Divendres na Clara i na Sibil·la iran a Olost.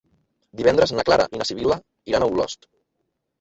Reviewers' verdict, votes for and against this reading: accepted, 2, 1